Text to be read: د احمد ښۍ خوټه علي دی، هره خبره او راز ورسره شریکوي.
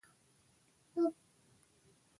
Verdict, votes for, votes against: rejected, 1, 2